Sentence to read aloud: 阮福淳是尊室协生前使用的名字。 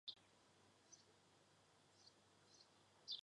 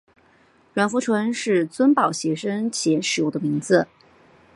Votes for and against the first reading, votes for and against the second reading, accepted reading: 0, 2, 3, 0, second